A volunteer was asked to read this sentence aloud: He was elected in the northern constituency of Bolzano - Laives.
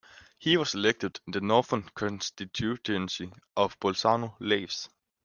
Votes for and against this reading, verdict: 0, 2, rejected